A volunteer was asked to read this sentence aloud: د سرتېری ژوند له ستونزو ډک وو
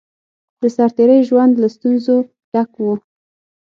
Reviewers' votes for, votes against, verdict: 6, 0, accepted